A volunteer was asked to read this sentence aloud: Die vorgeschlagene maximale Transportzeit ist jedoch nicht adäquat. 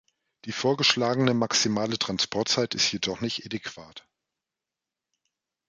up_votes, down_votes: 1, 2